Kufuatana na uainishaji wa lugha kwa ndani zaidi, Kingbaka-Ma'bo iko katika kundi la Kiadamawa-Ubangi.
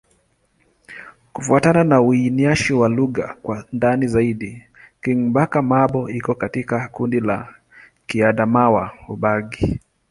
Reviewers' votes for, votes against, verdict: 1, 2, rejected